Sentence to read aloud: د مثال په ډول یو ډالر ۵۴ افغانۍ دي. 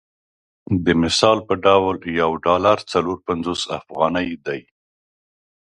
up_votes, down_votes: 0, 2